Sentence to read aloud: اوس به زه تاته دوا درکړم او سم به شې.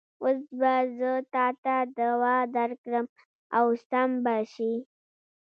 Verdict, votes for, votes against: rejected, 0, 2